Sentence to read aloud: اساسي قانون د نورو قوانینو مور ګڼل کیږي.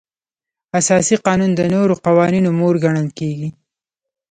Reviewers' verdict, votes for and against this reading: rejected, 1, 2